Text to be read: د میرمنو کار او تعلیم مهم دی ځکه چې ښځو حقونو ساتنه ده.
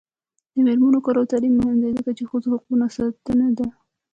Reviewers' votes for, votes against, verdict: 2, 0, accepted